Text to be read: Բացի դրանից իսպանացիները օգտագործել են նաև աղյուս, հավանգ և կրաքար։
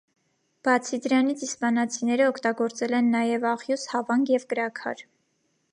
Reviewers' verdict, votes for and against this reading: accepted, 2, 0